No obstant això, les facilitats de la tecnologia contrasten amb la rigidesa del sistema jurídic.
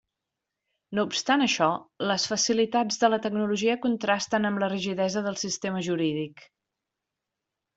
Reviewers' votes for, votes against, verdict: 3, 0, accepted